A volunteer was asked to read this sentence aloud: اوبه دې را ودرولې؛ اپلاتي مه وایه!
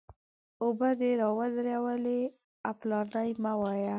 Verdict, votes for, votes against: accepted, 2, 1